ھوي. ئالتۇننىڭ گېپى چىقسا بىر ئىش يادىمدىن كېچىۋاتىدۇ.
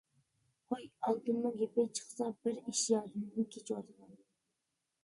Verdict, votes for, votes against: accepted, 2, 0